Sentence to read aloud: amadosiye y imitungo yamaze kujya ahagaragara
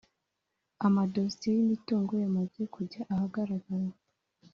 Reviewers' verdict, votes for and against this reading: accepted, 2, 0